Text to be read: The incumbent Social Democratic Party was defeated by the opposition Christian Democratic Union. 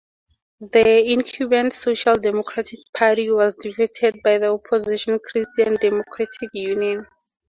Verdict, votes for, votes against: accepted, 2, 0